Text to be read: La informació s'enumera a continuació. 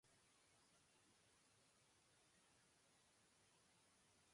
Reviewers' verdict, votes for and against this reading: rejected, 0, 2